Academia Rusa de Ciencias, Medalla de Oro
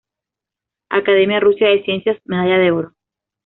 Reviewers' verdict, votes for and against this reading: rejected, 1, 2